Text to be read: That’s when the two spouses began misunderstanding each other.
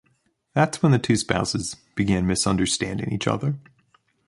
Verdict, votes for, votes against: accepted, 2, 0